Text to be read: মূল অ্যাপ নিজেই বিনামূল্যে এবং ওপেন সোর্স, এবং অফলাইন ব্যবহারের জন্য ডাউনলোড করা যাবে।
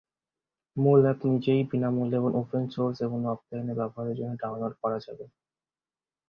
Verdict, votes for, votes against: accepted, 2, 0